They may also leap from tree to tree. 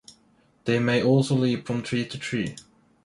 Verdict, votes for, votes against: accepted, 2, 0